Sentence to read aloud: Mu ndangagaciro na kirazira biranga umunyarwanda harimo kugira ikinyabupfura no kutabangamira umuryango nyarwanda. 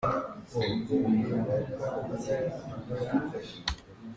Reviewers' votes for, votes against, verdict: 0, 3, rejected